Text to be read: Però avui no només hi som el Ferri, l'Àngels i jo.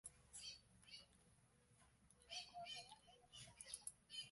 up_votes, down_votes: 0, 2